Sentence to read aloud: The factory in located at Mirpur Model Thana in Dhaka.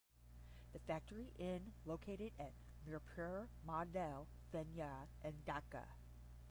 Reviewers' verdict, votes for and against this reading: rejected, 5, 5